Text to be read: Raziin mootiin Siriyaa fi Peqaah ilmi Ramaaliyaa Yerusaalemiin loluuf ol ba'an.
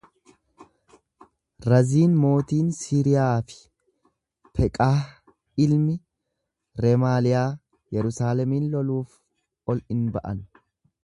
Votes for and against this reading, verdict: 1, 2, rejected